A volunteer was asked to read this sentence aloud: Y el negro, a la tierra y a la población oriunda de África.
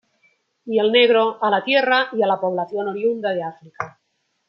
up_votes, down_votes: 0, 2